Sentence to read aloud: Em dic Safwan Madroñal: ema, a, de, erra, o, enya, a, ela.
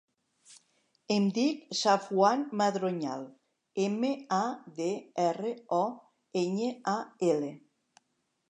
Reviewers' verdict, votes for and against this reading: rejected, 3, 4